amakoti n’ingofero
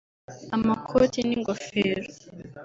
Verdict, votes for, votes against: rejected, 1, 2